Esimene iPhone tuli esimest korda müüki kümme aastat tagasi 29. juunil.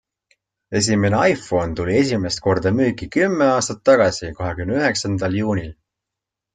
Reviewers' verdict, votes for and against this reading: rejected, 0, 2